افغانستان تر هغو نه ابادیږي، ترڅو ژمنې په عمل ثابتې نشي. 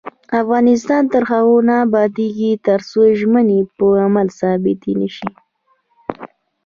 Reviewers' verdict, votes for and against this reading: rejected, 1, 2